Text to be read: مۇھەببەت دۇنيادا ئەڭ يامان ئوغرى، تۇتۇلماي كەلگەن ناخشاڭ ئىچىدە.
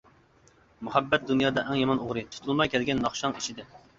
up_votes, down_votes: 2, 0